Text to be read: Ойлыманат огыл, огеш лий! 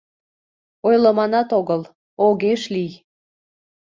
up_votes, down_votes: 2, 0